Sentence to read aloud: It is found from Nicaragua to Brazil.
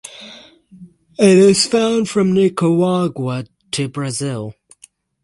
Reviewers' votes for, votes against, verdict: 6, 0, accepted